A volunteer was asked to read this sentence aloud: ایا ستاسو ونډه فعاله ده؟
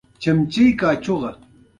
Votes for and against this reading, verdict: 2, 0, accepted